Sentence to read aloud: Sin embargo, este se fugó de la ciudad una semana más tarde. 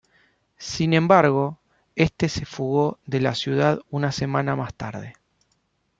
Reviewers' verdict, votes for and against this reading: accepted, 2, 0